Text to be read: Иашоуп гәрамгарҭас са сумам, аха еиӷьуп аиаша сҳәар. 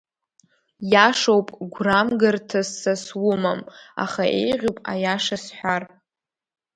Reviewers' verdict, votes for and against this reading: rejected, 0, 2